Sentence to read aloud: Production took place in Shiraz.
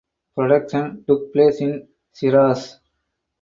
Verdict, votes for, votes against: rejected, 0, 2